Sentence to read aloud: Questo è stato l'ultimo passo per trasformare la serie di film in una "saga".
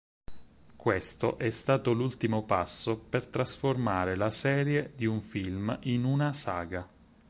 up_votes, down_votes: 2, 4